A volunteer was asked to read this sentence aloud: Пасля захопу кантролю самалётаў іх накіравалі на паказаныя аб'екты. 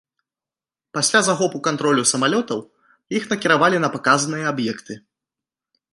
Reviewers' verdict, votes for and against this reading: accepted, 3, 1